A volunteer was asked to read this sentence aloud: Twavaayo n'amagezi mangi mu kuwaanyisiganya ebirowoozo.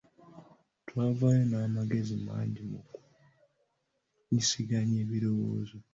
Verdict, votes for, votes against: rejected, 0, 2